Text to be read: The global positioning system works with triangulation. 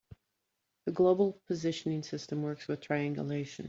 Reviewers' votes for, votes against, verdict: 3, 0, accepted